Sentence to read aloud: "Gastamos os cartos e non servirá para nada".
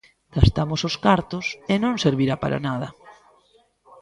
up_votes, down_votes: 0, 2